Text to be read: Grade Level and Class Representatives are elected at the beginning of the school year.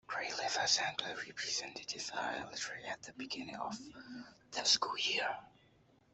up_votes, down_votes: 1, 2